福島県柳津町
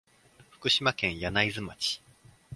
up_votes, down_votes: 2, 0